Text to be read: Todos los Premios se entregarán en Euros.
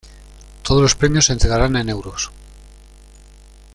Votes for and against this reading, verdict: 2, 0, accepted